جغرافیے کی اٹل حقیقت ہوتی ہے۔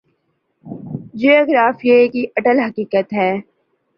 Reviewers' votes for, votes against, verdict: 2, 1, accepted